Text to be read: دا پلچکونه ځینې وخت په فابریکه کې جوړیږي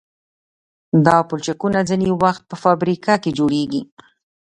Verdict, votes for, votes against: accepted, 2, 0